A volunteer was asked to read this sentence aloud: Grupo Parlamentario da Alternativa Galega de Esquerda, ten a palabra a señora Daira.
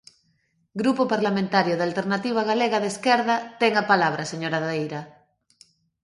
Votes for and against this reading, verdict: 2, 0, accepted